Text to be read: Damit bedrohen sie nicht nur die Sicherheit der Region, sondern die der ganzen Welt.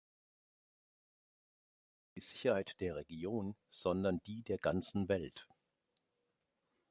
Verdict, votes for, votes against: rejected, 0, 2